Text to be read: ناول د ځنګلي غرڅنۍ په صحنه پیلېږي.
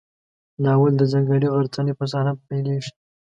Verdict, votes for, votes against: accepted, 2, 1